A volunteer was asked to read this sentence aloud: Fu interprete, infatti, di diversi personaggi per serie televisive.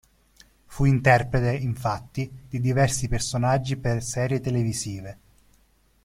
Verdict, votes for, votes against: accepted, 2, 0